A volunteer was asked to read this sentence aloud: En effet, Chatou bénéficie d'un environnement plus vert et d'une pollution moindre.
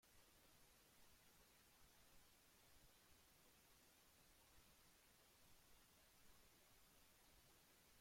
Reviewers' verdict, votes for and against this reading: rejected, 0, 2